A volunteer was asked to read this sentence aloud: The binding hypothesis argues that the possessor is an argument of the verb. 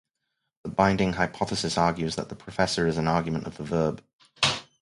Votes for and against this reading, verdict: 0, 2, rejected